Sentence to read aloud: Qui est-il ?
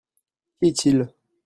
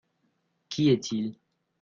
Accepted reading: second